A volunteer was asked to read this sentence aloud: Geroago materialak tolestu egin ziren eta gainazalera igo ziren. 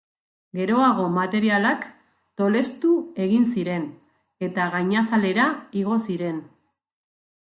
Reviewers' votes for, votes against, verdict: 3, 0, accepted